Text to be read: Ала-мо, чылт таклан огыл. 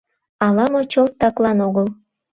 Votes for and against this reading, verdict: 2, 0, accepted